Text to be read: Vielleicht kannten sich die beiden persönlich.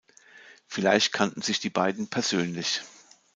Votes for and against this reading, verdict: 2, 0, accepted